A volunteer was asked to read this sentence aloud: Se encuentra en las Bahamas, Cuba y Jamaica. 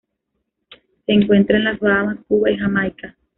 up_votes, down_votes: 2, 0